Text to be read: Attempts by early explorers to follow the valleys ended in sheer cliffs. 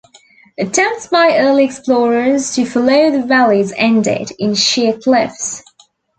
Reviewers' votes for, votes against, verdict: 2, 1, accepted